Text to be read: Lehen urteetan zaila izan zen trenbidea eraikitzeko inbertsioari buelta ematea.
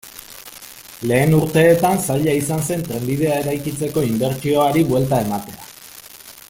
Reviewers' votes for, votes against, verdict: 2, 0, accepted